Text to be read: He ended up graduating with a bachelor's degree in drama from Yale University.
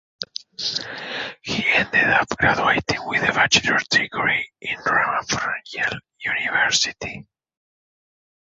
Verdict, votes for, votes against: rejected, 1, 2